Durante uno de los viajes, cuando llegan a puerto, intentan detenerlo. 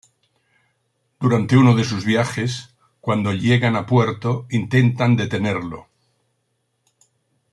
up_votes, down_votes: 0, 2